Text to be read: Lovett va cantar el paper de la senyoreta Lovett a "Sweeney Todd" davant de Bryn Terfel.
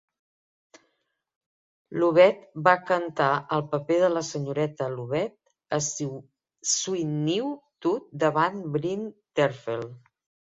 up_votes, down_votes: 0, 2